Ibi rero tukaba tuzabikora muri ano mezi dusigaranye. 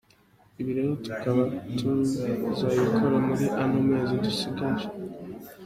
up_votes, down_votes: 1, 2